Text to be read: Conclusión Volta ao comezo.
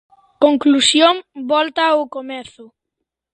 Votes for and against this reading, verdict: 2, 0, accepted